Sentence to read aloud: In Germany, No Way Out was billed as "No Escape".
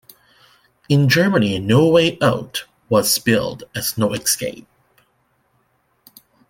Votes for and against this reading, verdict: 2, 0, accepted